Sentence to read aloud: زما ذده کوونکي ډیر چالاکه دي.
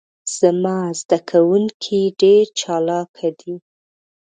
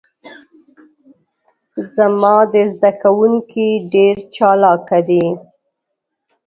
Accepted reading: first